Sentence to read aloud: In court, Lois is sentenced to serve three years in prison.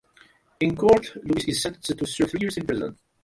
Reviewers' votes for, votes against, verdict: 0, 2, rejected